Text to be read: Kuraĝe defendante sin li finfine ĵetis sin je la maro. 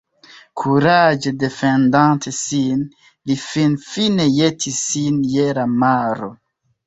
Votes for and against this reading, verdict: 0, 2, rejected